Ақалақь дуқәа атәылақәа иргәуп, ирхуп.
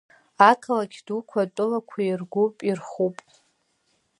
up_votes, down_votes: 2, 0